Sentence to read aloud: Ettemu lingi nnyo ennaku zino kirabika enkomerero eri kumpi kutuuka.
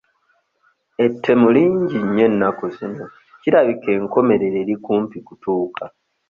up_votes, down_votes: 2, 0